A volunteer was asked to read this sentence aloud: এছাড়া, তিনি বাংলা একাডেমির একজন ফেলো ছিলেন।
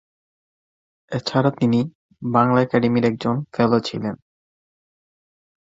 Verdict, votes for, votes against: accepted, 2, 0